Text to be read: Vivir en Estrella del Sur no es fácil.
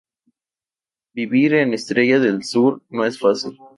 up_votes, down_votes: 2, 0